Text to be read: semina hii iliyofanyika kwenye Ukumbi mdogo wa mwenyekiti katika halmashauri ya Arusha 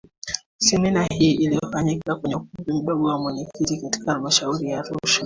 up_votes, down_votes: 2, 1